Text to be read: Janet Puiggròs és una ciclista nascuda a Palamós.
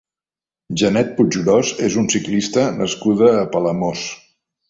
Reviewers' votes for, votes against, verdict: 0, 2, rejected